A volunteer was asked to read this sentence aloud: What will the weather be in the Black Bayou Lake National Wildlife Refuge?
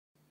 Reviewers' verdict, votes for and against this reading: rejected, 0, 2